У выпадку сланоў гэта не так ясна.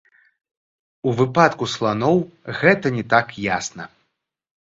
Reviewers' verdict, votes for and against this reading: rejected, 1, 2